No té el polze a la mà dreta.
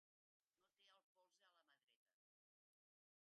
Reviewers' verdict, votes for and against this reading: rejected, 0, 2